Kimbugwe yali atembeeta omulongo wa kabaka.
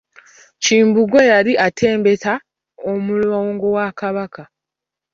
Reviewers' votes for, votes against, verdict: 1, 2, rejected